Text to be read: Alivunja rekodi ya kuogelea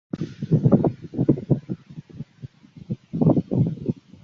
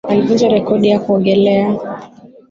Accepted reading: second